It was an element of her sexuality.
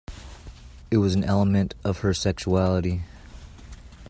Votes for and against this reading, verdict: 2, 0, accepted